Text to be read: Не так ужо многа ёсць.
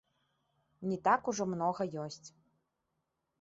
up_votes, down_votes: 2, 1